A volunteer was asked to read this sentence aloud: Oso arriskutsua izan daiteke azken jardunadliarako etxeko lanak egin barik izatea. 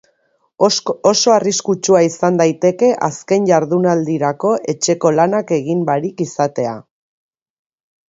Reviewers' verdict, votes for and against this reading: accepted, 2, 1